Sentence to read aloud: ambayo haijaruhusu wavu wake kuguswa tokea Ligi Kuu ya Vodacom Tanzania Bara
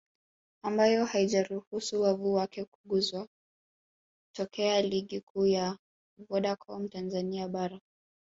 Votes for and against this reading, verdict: 1, 2, rejected